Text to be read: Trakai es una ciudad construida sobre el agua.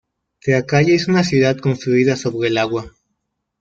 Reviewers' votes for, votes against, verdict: 0, 2, rejected